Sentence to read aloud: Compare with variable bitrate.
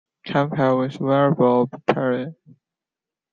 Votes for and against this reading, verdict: 1, 2, rejected